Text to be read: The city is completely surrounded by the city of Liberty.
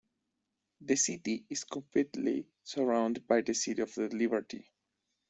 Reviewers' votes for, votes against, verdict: 1, 2, rejected